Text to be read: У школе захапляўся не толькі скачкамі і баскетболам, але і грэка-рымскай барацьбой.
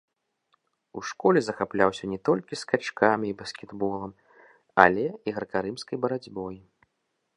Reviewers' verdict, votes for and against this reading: rejected, 1, 2